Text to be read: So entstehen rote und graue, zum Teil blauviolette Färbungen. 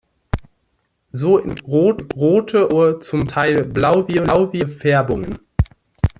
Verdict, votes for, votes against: rejected, 0, 4